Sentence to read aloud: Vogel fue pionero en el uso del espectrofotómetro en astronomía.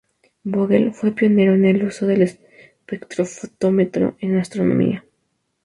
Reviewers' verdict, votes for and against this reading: rejected, 0, 2